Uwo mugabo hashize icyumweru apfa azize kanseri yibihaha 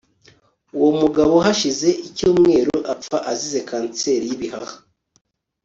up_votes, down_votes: 1, 2